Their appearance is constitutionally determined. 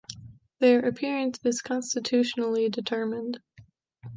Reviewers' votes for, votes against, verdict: 2, 0, accepted